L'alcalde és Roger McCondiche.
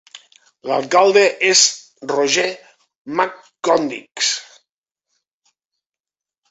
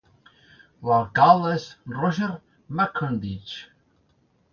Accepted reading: second